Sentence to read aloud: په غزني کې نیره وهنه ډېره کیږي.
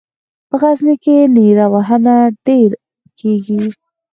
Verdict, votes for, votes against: accepted, 4, 0